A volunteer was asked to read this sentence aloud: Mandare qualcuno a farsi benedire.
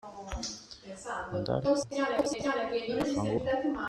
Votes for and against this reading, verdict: 0, 2, rejected